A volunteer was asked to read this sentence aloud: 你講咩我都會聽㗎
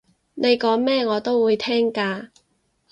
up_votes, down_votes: 4, 0